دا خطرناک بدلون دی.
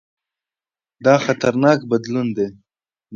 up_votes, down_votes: 2, 0